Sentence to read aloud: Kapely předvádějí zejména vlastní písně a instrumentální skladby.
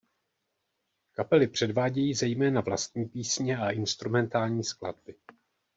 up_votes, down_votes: 2, 0